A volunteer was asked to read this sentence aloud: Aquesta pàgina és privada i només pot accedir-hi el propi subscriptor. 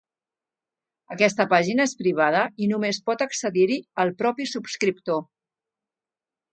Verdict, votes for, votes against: accepted, 2, 0